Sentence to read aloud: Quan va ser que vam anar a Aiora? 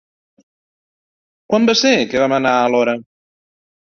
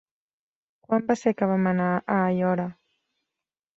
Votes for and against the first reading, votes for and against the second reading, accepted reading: 0, 2, 3, 0, second